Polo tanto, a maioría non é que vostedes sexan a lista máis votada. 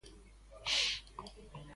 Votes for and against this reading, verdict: 0, 2, rejected